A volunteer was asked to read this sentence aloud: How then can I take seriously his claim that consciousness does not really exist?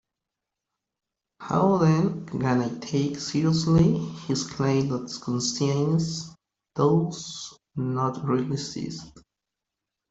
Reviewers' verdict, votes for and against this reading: rejected, 0, 2